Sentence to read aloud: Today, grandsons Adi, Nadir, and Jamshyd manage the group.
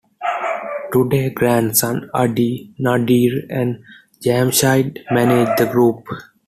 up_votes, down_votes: 0, 2